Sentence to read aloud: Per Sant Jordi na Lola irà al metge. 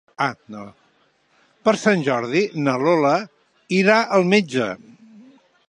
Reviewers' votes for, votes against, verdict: 0, 2, rejected